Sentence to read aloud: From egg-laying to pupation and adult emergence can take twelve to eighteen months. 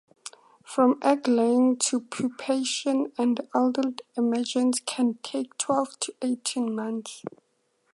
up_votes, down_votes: 4, 0